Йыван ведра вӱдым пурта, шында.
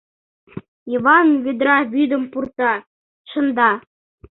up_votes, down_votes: 2, 0